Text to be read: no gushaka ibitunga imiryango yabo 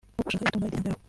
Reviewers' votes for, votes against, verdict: 0, 2, rejected